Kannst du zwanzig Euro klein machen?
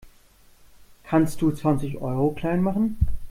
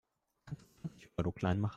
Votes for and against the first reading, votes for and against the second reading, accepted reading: 2, 0, 0, 2, first